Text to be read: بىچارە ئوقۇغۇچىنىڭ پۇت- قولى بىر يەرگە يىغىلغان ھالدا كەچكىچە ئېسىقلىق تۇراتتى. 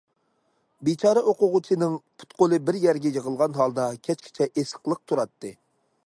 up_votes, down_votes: 2, 0